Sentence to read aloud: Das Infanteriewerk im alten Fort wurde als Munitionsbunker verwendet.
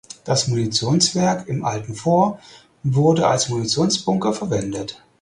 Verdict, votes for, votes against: rejected, 0, 4